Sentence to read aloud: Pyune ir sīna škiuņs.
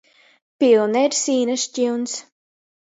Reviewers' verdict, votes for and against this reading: rejected, 1, 2